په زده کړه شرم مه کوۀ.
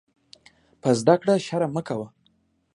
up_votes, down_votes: 2, 0